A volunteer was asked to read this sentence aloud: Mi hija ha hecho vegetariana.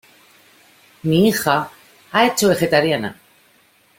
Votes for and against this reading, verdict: 2, 0, accepted